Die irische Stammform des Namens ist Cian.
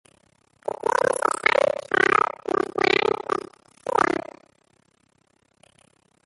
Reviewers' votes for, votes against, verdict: 0, 2, rejected